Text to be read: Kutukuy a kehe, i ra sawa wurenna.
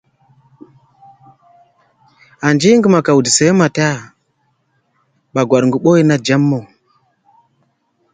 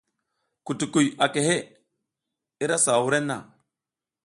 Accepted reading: second